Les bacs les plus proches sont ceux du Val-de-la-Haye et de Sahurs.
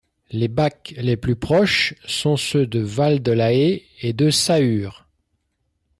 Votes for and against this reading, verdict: 1, 2, rejected